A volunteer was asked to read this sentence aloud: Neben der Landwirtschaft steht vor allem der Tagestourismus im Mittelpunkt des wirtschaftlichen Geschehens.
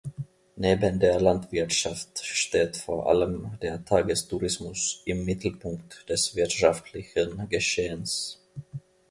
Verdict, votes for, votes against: accepted, 2, 0